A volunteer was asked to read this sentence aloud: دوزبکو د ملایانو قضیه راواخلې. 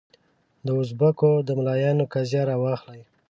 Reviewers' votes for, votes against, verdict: 2, 0, accepted